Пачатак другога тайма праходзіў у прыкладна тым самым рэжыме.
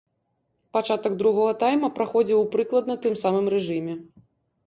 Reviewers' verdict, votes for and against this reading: accepted, 2, 0